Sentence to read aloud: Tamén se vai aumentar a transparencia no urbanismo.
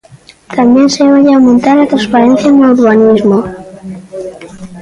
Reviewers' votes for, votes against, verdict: 1, 2, rejected